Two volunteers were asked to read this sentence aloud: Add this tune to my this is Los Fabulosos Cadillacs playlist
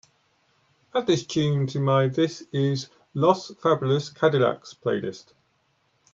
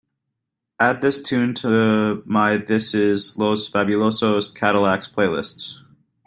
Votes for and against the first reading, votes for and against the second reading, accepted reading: 2, 1, 0, 2, first